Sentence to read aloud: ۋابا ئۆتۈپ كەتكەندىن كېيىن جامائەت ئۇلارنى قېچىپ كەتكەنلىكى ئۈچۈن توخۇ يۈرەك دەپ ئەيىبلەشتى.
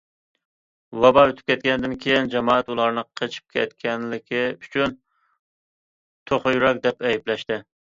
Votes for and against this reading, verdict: 2, 0, accepted